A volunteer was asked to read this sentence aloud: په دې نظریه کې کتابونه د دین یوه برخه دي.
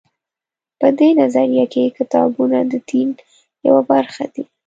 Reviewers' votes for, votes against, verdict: 2, 0, accepted